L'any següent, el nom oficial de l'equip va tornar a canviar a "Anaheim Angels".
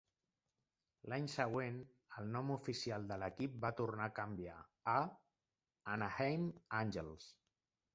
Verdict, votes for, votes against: accepted, 2, 0